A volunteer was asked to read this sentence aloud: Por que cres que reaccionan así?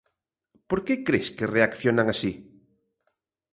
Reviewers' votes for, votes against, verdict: 2, 0, accepted